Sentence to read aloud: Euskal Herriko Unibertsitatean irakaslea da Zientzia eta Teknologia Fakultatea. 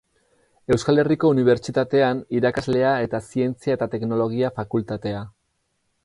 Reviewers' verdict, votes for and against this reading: rejected, 0, 4